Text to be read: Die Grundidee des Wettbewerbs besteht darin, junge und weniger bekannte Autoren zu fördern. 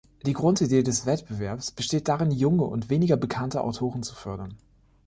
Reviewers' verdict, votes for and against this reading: accepted, 2, 0